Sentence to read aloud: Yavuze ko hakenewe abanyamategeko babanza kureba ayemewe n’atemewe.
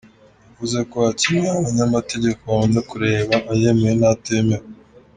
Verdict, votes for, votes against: accepted, 2, 0